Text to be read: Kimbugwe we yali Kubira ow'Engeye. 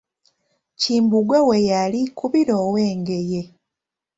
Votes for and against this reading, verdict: 2, 1, accepted